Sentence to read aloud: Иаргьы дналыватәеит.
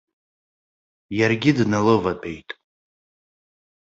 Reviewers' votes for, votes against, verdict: 2, 0, accepted